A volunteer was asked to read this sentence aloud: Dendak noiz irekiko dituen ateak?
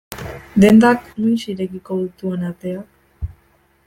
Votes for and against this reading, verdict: 1, 2, rejected